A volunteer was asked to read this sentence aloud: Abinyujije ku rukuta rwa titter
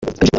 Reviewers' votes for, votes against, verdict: 1, 3, rejected